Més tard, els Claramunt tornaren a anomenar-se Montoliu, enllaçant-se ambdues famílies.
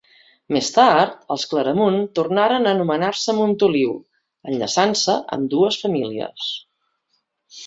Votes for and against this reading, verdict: 2, 0, accepted